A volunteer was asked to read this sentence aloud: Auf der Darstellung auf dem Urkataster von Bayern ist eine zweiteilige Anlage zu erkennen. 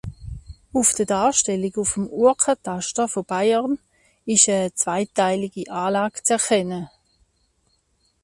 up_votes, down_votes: 0, 3